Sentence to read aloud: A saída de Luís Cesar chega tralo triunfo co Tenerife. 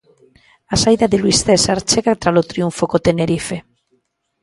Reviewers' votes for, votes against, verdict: 2, 0, accepted